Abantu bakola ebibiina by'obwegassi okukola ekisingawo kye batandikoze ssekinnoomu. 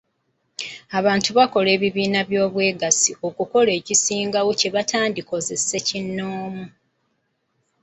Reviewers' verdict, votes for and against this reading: accepted, 2, 0